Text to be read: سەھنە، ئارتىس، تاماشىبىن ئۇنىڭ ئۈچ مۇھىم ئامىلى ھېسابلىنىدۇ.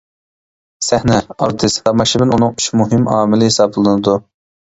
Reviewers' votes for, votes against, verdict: 1, 2, rejected